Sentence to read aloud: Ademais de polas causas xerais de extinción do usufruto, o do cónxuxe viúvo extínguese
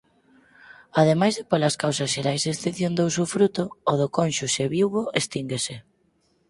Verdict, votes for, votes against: rejected, 0, 4